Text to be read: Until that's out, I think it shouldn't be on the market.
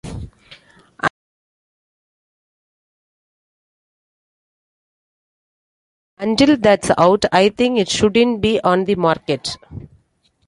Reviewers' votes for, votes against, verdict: 0, 2, rejected